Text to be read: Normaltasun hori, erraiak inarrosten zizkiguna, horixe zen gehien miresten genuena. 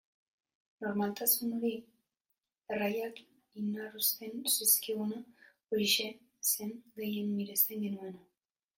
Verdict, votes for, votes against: rejected, 0, 2